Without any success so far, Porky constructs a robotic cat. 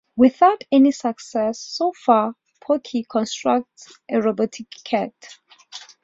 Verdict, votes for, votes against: accepted, 2, 0